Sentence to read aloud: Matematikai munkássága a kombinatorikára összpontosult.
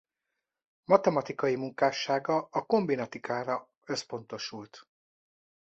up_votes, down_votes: 0, 2